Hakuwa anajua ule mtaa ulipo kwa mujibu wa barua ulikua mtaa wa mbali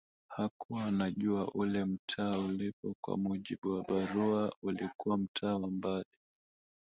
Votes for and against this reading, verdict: 1, 2, rejected